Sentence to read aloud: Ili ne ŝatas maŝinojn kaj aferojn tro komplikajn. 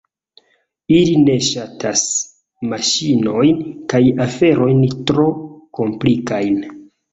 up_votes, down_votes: 2, 1